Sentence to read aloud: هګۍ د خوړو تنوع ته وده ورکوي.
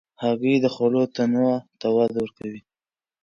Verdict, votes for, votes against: rejected, 1, 2